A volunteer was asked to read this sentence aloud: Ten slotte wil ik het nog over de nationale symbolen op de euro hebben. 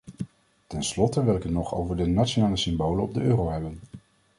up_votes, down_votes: 2, 0